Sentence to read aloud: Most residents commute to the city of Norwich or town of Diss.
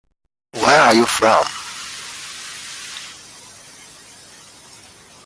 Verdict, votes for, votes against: rejected, 0, 2